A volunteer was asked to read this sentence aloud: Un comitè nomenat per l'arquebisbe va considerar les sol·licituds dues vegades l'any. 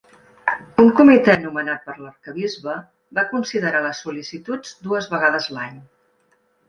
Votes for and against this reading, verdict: 3, 0, accepted